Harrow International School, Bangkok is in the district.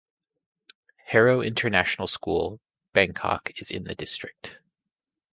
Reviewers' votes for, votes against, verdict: 2, 0, accepted